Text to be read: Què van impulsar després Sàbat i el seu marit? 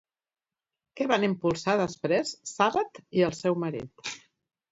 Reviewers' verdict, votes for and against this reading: accepted, 2, 0